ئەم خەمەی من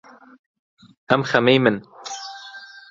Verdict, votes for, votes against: accepted, 2, 0